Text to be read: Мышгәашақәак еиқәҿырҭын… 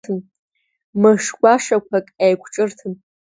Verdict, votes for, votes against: accepted, 2, 1